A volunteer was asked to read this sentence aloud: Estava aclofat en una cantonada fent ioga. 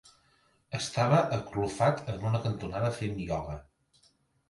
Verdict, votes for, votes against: accepted, 2, 0